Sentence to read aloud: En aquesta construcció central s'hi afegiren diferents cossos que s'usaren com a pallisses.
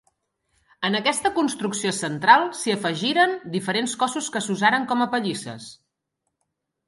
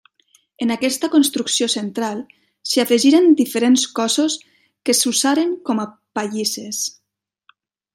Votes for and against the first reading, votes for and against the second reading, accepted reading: 2, 0, 0, 3, first